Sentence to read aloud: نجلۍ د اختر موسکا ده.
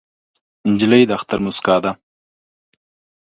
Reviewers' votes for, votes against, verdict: 2, 0, accepted